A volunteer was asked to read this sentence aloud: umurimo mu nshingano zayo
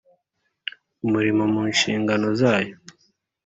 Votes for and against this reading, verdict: 2, 0, accepted